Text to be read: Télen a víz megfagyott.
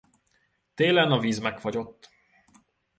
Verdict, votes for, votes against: accepted, 2, 0